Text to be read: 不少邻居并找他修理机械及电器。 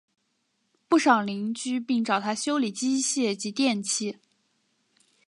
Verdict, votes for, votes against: accepted, 2, 0